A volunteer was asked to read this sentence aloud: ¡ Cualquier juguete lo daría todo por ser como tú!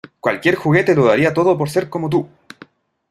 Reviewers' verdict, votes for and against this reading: rejected, 1, 2